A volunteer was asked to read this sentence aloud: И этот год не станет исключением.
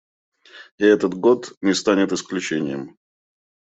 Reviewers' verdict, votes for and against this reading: accepted, 2, 1